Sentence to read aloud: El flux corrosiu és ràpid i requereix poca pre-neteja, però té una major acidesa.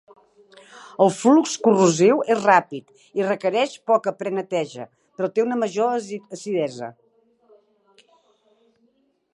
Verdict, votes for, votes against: rejected, 1, 2